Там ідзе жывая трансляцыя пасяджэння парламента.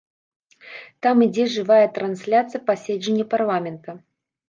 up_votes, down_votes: 0, 2